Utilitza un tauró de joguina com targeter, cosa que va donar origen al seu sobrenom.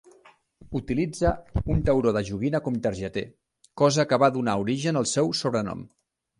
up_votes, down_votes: 2, 0